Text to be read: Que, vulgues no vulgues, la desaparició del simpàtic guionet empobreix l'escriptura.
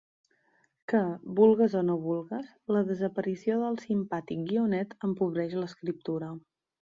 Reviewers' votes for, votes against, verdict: 3, 4, rejected